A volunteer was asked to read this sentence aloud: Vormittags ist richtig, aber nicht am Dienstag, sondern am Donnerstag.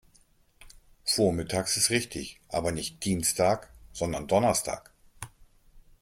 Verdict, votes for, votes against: rejected, 0, 2